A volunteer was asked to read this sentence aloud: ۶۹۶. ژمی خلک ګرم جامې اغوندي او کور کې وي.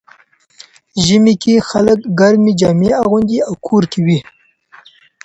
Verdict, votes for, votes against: rejected, 0, 2